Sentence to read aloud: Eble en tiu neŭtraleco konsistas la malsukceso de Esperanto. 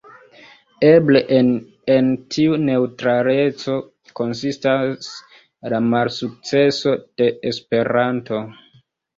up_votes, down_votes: 0, 2